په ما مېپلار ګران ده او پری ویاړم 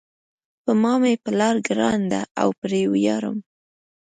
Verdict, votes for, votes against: accepted, 2, 0